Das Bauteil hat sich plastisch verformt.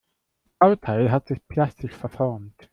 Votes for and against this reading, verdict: 1, 2, rejected